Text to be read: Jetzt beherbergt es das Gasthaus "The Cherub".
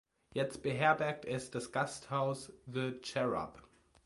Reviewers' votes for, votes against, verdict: 2, 0, accepted